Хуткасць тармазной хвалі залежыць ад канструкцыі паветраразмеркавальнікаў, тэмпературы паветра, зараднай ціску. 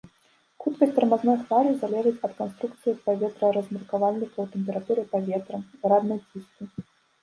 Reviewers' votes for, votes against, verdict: 1, 3, rejected